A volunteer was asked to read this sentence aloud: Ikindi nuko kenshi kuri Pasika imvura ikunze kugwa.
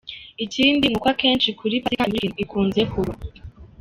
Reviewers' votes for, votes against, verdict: 0, 2, rejected